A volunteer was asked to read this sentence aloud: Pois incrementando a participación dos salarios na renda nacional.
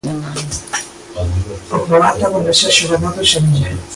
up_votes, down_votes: 0, 2